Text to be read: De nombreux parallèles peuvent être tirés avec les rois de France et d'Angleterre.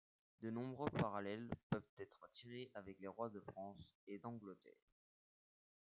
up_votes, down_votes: 1, 2